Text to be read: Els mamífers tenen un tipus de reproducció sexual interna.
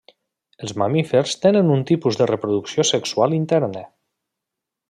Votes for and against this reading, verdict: 2, 0, accepted